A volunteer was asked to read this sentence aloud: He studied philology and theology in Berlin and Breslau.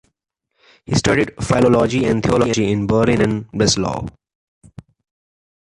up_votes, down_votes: 2, 0